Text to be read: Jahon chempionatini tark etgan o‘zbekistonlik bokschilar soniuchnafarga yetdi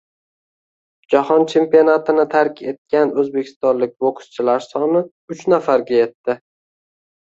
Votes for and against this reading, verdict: 1, 2, rejected